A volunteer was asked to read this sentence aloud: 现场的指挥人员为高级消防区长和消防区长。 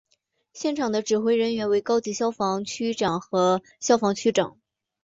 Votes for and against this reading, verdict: 2, 0, accepted